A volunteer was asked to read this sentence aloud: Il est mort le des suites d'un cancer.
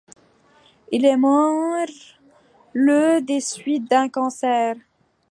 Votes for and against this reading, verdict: 2, 0, accepted